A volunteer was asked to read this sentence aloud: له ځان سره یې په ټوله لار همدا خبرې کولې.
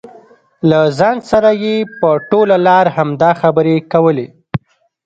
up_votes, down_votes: 1, 2